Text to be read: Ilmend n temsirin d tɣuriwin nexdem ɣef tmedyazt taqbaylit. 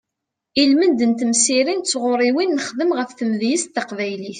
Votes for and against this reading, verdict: 2, 0, accepted